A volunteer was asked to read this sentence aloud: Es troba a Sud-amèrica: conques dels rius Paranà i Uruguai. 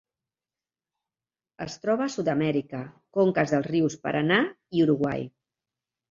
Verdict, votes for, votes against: accepted, 2, 0